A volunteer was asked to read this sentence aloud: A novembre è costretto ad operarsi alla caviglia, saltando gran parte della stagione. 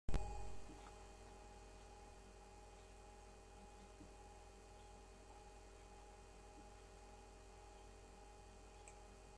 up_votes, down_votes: 0, 2